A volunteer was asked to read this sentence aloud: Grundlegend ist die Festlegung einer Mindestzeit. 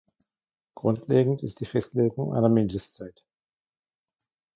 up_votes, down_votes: 2, 0